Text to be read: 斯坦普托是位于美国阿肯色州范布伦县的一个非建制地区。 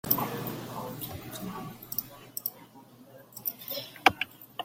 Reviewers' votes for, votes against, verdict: 0, 2, rejected